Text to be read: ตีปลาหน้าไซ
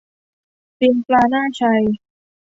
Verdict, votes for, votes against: accepted, 2, 0